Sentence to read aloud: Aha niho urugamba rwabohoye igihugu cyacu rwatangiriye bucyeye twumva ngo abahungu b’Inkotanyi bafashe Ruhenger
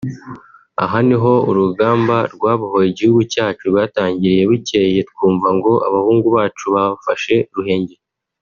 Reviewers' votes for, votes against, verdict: 1, 2, rejected